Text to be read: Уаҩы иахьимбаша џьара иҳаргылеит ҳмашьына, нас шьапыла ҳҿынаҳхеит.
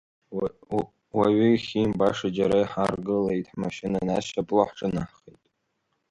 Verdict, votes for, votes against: rejected, 1, 2